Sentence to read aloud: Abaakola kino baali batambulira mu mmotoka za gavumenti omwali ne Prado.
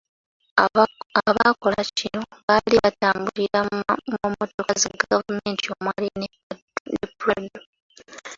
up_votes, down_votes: 0, 2